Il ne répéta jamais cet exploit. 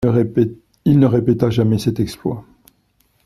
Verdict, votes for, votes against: rejected, 0, 2